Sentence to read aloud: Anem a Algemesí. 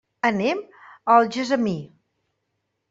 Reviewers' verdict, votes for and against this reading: rejected, 0, 2